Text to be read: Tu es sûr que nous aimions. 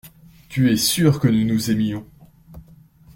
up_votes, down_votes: 0, 2